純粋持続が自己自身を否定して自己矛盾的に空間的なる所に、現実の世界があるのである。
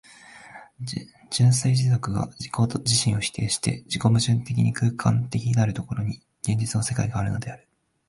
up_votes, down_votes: 1, 2